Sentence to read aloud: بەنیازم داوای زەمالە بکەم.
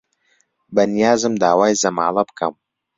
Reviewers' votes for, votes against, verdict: 2, 1, accepted